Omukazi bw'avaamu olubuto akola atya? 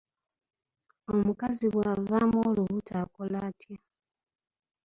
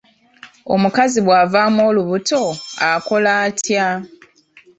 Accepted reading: second